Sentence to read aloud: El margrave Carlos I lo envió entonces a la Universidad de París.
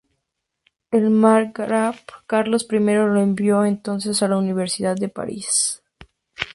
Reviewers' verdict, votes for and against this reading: accepted, 2, 0